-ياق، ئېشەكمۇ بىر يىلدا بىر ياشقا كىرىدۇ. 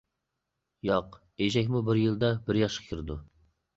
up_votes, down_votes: 2, 0